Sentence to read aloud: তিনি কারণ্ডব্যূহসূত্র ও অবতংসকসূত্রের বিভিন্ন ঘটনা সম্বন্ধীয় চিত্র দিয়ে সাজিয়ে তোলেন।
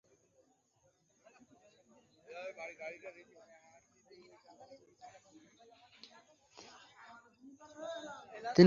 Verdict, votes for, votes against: rejected, 0, 3